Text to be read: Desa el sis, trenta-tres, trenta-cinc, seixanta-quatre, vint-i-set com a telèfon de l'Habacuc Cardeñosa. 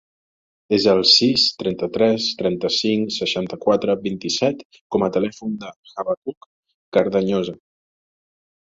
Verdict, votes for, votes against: rejected, 1, 2